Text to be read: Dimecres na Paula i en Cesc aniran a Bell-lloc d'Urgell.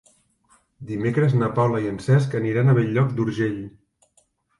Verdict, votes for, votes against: accepted, 3, 0